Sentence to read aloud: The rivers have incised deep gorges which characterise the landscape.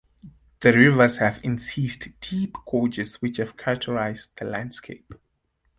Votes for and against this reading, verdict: 0, 2, rejected